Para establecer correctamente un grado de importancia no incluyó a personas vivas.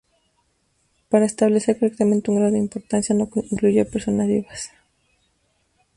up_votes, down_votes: 0, 2